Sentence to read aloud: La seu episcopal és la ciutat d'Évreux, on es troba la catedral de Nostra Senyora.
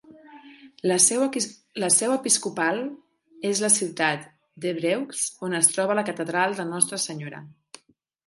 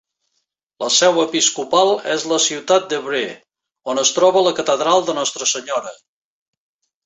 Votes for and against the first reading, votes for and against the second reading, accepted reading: 0, 2, 2, 0, second